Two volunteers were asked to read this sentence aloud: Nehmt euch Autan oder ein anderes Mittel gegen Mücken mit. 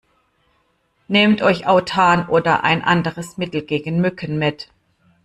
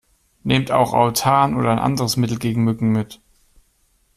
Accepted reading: first